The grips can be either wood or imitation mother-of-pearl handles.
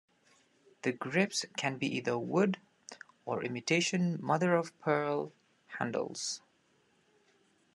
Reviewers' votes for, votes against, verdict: 2, 0, accepted